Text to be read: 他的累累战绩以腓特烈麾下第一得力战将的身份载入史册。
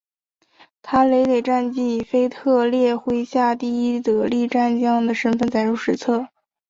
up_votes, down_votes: 0, 2